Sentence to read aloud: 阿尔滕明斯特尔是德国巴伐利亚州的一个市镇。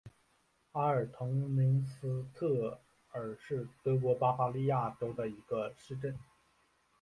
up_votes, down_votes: 2, 1